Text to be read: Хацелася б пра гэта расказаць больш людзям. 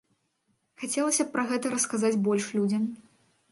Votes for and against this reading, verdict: 2, 0, accepted